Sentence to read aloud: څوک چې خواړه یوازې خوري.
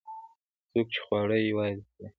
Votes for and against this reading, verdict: 2, 0, accepted